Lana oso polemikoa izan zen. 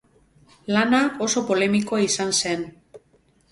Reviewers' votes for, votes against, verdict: 0, 2, rejected